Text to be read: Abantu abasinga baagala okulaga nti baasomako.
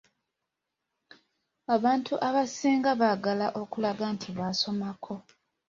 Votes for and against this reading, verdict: 2, 0, accepted